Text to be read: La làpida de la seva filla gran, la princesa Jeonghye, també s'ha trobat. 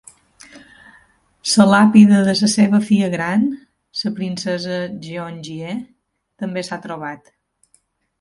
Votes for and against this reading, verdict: 0, 3, rejected